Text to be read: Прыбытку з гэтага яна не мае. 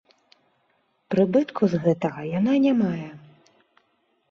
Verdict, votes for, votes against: rejected, 2, 3